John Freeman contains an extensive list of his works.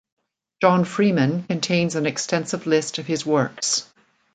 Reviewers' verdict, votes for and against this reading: accepted, 2, 0